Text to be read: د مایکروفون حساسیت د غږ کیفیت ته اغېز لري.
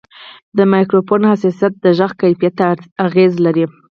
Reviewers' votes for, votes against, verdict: 2, 4, rejected